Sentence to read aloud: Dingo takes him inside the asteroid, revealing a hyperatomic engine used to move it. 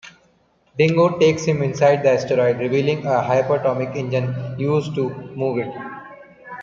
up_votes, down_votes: 0, 2